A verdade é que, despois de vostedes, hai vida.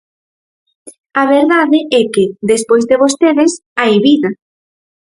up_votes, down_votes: 4, 0